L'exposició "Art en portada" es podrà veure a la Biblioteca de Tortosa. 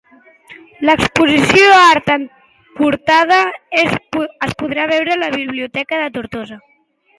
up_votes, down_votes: 1, 2